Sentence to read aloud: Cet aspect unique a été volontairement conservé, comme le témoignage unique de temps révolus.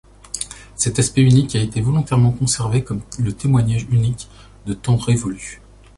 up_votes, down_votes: 2, 0